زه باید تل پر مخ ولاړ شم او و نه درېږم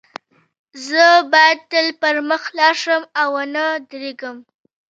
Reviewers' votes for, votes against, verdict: 1, 2, rejected